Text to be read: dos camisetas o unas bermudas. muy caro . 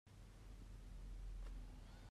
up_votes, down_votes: 0, 2